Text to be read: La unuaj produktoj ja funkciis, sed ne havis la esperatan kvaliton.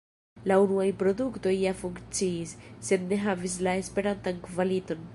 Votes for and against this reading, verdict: 2, 1, accepted